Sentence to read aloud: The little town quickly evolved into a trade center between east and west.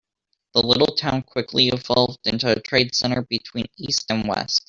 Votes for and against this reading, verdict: 0, 2, rejected